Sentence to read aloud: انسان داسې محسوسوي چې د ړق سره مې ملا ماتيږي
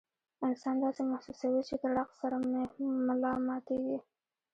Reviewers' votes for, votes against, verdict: 2, 0, accepted